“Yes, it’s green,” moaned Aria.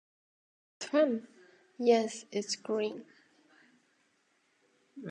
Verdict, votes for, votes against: rejected, 1, 2